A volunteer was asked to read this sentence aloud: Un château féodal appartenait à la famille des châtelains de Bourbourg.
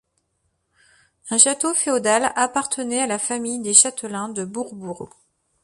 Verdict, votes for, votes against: accepted, 2, 0